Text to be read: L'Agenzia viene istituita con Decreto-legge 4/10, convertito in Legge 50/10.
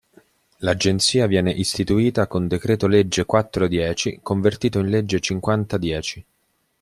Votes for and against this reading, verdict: 0, 2, rejected